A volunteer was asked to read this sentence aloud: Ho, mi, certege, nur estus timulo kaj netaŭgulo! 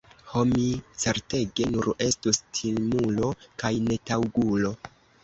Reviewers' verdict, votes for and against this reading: accepted, 2, 0